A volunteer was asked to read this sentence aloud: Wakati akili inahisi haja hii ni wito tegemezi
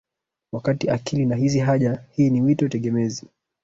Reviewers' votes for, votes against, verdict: 1, 2, rejected